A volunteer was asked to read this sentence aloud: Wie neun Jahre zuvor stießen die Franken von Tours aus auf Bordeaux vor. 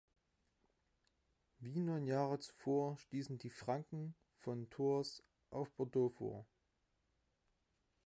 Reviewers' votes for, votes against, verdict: 1, 2, rejected